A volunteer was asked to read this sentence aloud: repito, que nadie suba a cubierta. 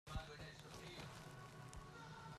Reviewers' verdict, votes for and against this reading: rejected, 0, 2